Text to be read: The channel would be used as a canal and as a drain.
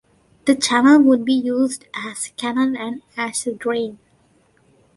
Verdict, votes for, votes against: rejected, 1, 2